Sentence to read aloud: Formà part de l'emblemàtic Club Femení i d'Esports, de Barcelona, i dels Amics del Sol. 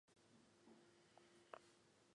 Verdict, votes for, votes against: rejected, 0, 2